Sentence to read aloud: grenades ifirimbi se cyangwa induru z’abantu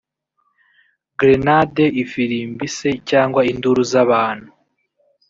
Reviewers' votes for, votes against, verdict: 0, 2, rejected